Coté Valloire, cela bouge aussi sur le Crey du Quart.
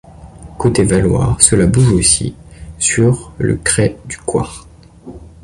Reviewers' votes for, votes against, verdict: 0, 2, rejected